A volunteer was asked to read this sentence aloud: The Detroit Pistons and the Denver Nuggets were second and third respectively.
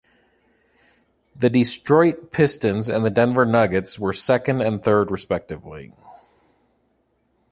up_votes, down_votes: 0, 2